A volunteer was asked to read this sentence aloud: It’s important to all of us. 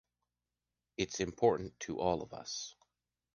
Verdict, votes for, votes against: accepted, 2, 0